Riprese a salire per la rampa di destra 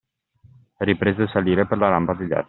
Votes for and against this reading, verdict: 0, 2, rejected